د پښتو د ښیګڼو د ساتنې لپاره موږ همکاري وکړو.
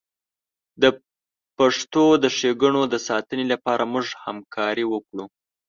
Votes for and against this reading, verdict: 1, 2, rejected